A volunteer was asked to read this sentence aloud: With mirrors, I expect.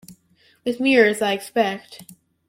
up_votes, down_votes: 2, 0